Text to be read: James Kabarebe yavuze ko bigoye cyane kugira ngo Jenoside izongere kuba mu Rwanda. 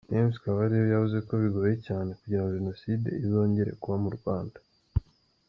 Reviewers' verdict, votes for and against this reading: accepted, 2, 0